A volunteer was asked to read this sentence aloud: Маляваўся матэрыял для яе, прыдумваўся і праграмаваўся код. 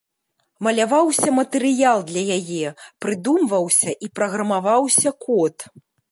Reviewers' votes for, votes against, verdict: 2, 0, accepted